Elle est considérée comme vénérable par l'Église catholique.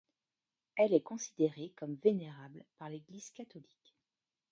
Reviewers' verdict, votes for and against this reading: accepted, 2, 0